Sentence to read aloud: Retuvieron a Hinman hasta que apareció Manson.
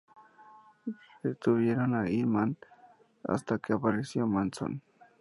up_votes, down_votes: 4, 0